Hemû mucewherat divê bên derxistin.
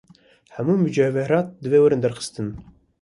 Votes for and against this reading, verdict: 1, 2, rejected